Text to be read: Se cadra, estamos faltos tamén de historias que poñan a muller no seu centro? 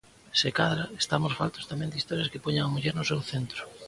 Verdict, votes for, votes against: accepted, 2, 0